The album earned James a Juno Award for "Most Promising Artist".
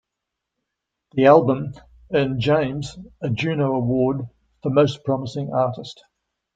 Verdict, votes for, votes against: accepted, 2, 0